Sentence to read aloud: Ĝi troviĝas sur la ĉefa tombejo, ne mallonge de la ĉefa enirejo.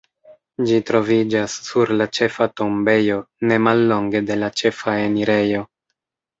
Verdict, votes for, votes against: rejected, 1, 2